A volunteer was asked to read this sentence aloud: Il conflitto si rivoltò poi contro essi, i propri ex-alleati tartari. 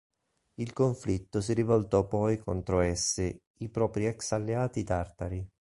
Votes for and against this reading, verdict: 2, 0, accepted